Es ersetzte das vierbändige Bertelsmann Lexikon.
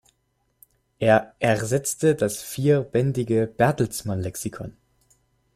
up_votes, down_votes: 0, 2